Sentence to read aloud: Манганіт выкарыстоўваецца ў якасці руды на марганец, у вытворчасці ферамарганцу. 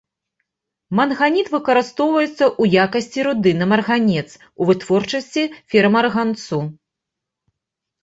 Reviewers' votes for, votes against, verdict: 2, 0, accepted